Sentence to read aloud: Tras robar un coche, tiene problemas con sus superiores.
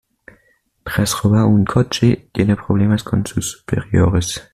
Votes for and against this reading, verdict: 1, 2, rejected